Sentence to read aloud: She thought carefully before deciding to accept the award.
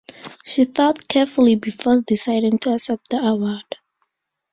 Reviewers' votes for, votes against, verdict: 2, 0, accepted